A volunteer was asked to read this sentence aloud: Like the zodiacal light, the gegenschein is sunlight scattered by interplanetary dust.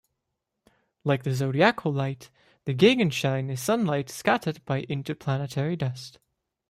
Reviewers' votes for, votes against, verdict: 2, 0, accepted